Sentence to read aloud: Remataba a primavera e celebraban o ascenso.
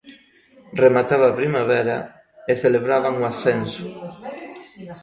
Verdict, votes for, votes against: rejected, 1, 2